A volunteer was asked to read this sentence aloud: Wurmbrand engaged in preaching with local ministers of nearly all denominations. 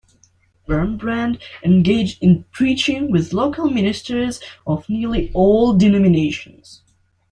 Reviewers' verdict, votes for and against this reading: accepted, 2, 0